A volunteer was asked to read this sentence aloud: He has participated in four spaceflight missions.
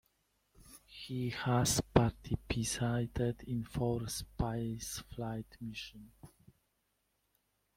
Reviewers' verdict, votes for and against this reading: rejected, 1, 2